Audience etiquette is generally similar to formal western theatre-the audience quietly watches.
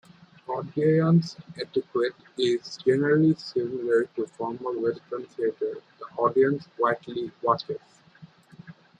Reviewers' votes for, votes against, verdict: 1, 2, rejected